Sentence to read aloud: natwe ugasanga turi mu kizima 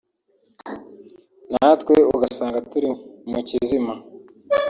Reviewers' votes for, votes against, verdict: 0, 2, rejected